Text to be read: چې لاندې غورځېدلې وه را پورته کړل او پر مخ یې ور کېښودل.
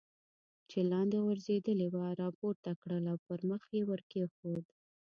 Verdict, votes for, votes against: rejected, 0, 2